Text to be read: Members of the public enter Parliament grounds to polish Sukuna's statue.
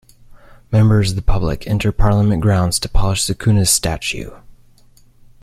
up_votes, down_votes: 2, 0